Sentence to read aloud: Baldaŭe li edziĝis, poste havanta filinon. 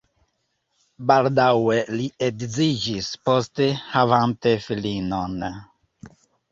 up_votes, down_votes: 1, 2